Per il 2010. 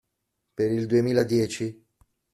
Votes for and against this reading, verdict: 0, 2, rejected